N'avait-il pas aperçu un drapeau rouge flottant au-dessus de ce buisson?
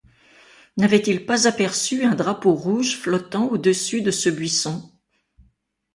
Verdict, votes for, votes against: accepted, 2, 0